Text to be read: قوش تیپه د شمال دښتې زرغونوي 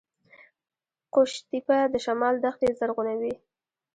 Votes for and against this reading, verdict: 0, 2, rejected